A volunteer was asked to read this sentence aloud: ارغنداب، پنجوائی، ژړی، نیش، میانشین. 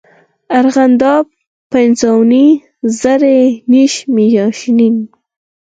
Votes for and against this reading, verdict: 0, 4, rejected